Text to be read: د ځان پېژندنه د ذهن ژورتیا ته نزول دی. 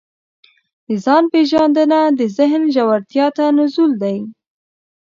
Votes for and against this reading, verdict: 2, 0, accepted